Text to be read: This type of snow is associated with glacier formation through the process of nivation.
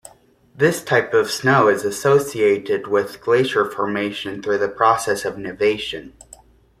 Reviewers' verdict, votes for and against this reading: accepted, 2, 0